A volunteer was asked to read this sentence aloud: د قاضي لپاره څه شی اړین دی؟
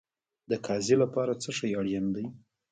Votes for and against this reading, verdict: 1, 2, rejected